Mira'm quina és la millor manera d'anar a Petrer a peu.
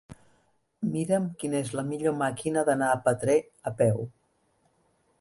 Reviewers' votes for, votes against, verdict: 1, 2, rejected